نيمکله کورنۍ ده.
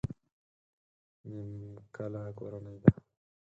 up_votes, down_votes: 2, 4